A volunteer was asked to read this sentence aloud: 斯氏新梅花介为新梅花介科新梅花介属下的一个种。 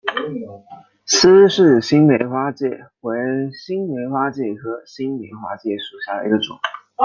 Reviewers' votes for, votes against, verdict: 0, 2, rejected